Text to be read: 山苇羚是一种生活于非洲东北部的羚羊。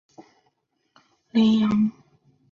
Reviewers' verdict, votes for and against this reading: rejected, 0, 2